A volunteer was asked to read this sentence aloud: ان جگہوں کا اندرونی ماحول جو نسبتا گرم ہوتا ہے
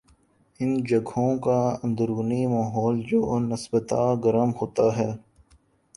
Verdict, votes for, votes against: accepted, 4, 1